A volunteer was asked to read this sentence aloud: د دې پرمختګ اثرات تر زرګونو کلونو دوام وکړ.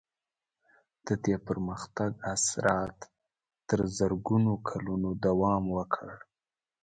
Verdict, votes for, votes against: accepted, 2, 0